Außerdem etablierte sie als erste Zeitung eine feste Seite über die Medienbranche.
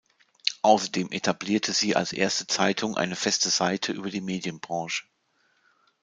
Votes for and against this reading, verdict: 0, 2, rejected